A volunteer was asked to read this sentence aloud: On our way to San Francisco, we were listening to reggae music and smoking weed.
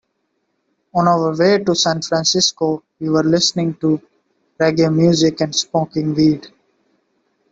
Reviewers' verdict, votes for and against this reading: rejected, 0, 2